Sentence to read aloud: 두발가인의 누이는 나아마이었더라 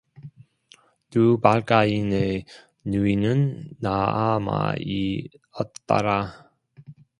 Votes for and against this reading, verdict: 2, 0, accepted